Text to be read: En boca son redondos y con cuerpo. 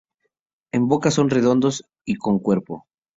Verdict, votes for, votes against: accepted, 2, 0